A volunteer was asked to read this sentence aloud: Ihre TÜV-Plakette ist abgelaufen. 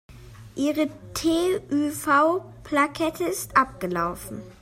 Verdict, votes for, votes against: rejected, 2, 3